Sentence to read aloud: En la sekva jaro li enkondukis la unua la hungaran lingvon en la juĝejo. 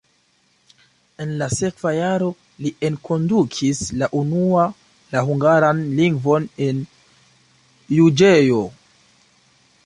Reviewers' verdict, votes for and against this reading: rejected, 1, 2